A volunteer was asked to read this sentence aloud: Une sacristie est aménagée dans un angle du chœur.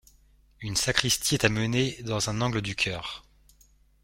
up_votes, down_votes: 0, 2